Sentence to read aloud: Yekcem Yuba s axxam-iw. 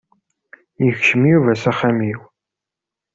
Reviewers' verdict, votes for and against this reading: accepted, 3, 0